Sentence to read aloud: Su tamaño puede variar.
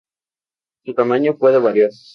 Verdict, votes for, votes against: accepted, 4, 0